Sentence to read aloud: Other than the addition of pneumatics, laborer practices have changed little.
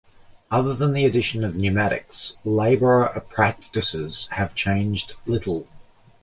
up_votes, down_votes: 1, 2